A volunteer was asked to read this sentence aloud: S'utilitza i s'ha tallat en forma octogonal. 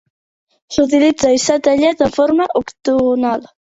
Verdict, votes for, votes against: rejected, 0, 2